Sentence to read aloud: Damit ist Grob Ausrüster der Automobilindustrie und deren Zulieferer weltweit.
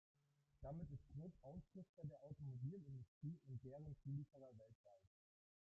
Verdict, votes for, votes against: rejected, 1, 2